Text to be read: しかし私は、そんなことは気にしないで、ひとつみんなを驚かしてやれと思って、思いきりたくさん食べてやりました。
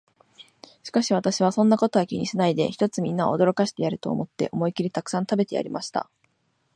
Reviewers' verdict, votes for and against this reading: accepted, 2, 0